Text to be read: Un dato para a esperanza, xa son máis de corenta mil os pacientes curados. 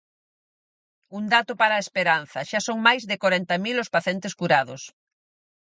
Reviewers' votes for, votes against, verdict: 0, 6, rejected